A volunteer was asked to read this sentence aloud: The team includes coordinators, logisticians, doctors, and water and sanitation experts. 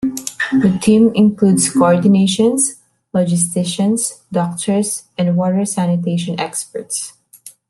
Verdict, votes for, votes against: rejected, 1, 2